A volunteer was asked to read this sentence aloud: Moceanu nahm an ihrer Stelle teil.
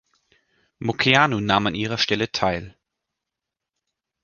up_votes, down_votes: 2, 0